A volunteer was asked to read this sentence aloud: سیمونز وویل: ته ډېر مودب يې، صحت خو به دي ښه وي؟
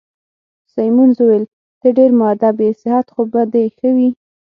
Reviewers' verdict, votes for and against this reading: accepted, 6, 0